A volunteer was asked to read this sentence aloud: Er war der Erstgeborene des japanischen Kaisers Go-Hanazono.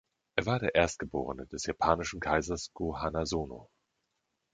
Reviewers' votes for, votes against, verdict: 2, 0, accepted